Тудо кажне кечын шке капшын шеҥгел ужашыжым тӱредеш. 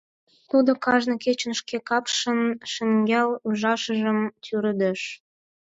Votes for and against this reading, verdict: 2, 4, rejected